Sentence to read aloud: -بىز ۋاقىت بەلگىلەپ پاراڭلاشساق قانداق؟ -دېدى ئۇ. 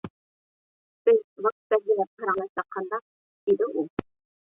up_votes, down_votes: 0, 2